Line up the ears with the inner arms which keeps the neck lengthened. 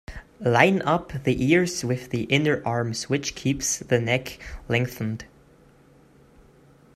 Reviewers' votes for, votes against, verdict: 0, 2, rejected